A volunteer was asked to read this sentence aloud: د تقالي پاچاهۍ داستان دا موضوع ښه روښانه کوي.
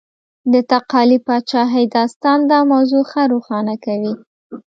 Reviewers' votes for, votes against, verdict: 2, 0, accepted